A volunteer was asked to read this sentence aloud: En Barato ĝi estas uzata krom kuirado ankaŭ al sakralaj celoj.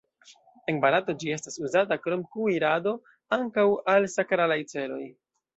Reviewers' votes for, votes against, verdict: 1, 2, rejected